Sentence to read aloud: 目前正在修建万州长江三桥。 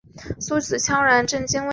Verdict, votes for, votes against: rejected, 1, 2